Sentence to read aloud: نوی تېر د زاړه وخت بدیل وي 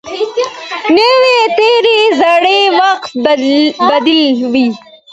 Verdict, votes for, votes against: accepted, 2, 1